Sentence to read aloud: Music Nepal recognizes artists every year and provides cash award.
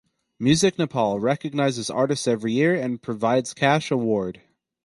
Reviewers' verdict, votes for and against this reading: accepted, 4, 0